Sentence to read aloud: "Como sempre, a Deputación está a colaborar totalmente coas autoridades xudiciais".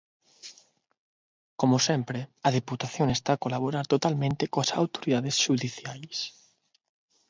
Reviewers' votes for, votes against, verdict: 0, 6, rejected